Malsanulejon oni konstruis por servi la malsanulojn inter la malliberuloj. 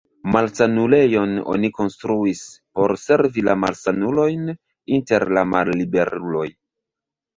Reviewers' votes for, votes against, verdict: 1, 2, rejected